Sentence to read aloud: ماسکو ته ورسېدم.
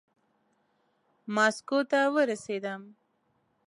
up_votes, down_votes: 2, 0